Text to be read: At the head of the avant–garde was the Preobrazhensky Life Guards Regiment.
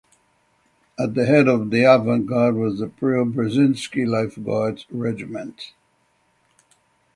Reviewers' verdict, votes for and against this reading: rejected, 0, 3